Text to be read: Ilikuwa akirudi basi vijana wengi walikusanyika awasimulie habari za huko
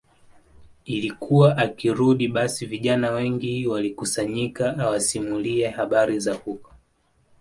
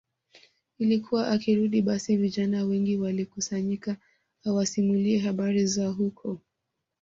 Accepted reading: second